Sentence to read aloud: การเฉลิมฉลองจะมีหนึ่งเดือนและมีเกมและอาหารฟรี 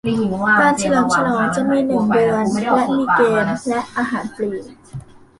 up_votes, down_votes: 0, 2